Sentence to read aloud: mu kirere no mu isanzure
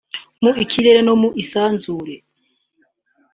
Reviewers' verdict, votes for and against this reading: accepted, 3, 1